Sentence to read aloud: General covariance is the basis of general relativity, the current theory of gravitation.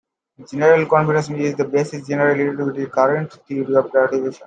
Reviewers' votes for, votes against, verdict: 2, 1, accepted